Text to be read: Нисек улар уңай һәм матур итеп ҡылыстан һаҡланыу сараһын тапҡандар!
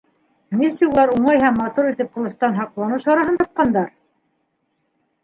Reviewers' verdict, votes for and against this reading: rejected, 0, 2